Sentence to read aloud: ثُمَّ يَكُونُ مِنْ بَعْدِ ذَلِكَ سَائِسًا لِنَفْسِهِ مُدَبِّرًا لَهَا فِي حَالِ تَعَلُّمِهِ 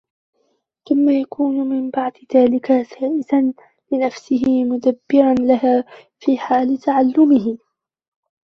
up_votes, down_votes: 0, 2